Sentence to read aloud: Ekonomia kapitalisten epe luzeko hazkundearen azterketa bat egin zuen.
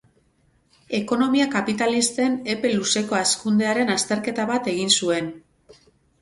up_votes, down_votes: 2, 2